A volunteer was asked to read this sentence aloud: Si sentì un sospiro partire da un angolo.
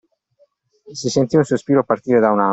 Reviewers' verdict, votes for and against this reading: rejected, 1, 2